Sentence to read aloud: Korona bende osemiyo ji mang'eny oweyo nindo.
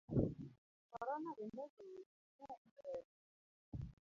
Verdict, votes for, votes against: rejected, 1, 2